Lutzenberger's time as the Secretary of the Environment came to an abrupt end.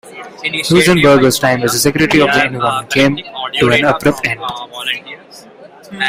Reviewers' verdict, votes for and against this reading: rejected, 1, 2